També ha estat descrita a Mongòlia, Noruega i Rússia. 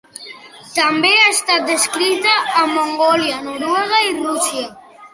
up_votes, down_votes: 1, 2